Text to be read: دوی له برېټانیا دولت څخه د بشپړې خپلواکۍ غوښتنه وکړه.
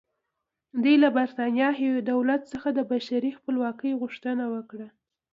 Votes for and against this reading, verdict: 2, 0, accepted